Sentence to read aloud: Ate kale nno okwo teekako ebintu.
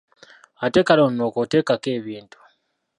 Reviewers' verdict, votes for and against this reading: rejected, 1, 2